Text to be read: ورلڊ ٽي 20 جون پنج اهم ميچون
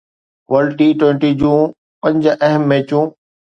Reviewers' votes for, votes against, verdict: 0, 2, rejected